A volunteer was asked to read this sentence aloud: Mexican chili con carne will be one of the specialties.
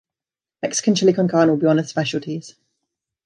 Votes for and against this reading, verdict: 2, 0, accepted